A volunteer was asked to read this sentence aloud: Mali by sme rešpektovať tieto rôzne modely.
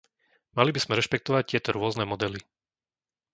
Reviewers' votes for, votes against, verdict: 2, 0, accepted